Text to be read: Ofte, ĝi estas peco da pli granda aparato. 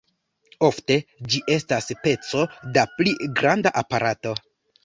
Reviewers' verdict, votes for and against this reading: accepted, 2, 1